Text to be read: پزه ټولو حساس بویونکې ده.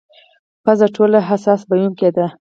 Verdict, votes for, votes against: accepted, 4, 0